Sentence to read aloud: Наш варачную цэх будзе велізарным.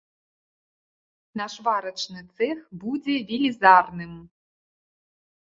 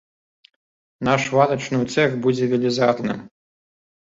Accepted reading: second